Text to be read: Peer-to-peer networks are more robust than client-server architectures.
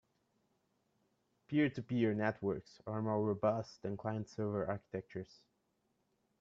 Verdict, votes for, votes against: accepted, 2, 0